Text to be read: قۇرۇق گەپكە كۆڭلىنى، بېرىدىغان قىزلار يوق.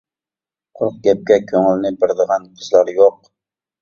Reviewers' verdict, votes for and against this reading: rejected, 0, 2